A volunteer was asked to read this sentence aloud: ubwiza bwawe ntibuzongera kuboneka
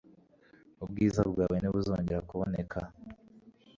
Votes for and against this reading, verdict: 2, 1, accepted